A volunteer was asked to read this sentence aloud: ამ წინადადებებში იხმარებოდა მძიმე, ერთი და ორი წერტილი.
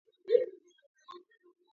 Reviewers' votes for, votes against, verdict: 0, 2, rejected